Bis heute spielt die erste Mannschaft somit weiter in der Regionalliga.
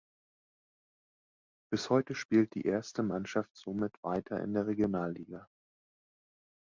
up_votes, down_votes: 2, 0